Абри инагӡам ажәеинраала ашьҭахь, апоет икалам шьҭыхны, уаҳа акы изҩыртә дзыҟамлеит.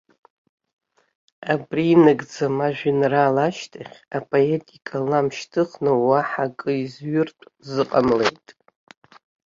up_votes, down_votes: 3, 1